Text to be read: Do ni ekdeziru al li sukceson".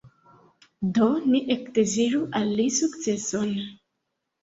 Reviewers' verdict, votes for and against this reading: accepted, 2, 0